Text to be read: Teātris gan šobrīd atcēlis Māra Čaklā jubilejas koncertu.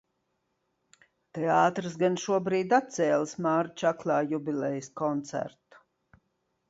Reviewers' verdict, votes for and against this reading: accepted, 2, 0